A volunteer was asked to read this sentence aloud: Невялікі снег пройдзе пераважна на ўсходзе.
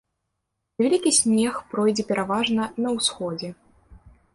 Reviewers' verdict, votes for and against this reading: rejected, 1, 3